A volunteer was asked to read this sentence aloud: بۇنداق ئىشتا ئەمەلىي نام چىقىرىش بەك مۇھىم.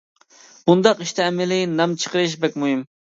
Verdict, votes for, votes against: accepted, 2, 0